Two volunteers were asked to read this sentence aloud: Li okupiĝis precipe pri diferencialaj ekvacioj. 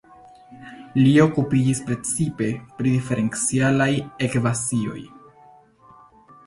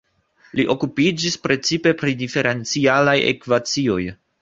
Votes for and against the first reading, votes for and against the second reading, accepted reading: 1, 2, 2, 0, second